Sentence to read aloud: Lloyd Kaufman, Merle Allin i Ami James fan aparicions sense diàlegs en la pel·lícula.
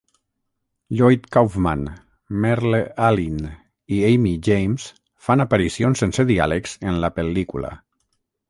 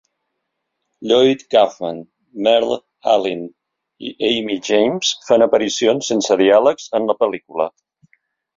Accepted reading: second